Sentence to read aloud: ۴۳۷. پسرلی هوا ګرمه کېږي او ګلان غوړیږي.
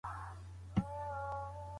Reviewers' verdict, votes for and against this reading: rejected, 0, 2